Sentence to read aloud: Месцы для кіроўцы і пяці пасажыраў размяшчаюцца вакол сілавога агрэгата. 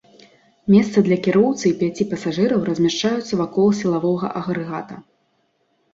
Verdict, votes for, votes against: accepted, 2, 0